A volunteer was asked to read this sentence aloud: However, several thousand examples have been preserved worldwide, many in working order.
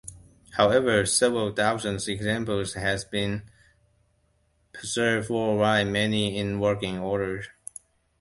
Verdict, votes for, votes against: rejected, 0, 2